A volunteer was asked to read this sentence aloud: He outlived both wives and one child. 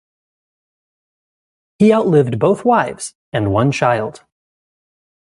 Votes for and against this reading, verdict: 2, 0, accepted